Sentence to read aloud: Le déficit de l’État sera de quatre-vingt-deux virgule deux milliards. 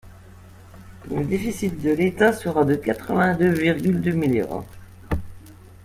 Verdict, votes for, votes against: rejected, 0, 2